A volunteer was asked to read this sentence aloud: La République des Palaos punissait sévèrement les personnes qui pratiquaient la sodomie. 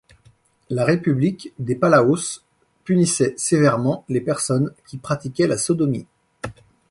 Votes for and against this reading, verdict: 2, 0, accepted